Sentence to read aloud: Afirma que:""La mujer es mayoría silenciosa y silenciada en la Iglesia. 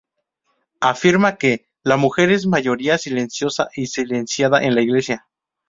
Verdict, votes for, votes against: accepted, 2, 0